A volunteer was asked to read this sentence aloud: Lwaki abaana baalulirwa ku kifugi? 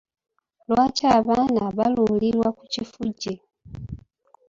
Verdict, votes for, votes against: accepted, 3, 0